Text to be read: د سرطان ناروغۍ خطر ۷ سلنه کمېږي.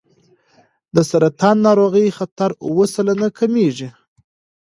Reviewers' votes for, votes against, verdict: 0, 2, rejected